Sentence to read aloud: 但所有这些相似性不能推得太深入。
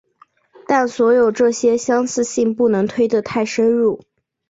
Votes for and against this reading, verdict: 2, 0, accepted